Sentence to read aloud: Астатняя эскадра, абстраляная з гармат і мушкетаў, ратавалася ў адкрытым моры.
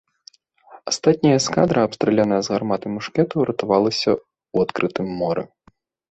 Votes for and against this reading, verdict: 3, 0, accepted